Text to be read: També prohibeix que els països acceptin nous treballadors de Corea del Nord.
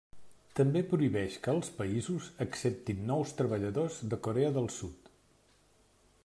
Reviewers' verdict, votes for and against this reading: rejected, 0, 2